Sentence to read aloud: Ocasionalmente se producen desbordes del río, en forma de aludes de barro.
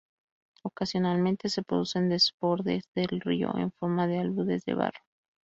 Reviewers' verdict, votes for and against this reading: accepted, 4, 0